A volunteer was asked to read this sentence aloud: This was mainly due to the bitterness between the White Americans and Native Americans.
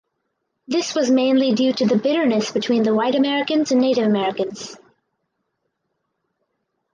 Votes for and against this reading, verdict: 4, 0, accepted